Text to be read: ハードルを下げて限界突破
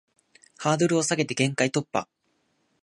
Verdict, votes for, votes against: accepted, 2, 0